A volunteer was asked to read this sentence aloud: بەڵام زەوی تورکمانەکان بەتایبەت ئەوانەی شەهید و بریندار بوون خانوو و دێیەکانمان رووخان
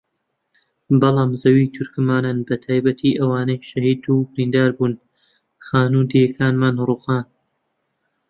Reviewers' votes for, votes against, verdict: 0, 2, rejected